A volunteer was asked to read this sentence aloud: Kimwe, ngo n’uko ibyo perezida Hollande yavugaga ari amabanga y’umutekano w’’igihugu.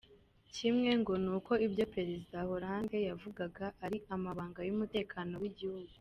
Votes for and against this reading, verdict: 2, 1, accepted